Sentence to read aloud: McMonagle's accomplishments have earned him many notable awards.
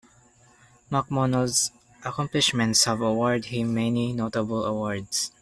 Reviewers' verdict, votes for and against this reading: rejected, 0, 2